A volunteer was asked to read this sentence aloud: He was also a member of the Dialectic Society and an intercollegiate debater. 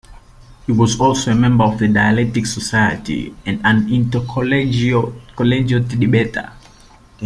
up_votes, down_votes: 0, 3